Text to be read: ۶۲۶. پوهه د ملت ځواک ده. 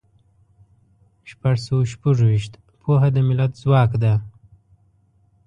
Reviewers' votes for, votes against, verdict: 0, 2, rejected